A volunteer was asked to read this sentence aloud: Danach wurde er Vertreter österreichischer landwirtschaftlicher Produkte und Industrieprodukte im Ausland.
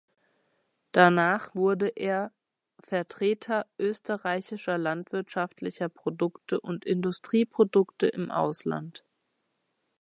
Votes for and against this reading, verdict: 2, 0, accepted